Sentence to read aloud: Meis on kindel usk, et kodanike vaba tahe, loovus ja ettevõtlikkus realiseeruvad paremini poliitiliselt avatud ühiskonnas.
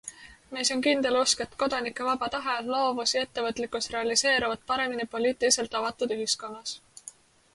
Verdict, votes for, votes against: accepted, 2, 0